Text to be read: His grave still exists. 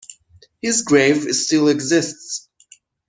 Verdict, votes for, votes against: rejected, 0, 2